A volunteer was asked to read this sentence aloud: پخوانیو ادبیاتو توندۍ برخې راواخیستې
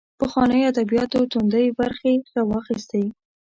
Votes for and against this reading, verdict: 1, 2, rejected